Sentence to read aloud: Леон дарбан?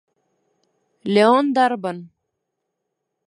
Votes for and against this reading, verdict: 2, 0, accepted